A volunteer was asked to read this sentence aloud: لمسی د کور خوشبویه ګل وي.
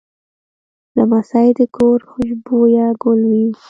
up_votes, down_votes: 0, 2